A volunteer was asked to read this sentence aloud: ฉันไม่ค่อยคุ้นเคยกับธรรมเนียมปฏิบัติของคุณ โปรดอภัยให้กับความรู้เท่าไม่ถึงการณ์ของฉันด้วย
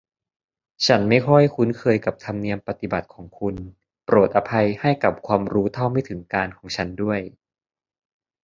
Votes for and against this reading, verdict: 2, 0, accepted